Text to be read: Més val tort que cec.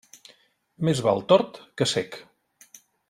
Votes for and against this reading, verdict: 2, 0, accepted